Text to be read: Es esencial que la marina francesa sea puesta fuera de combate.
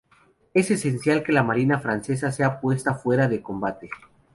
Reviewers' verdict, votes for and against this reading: accepted, 2, 0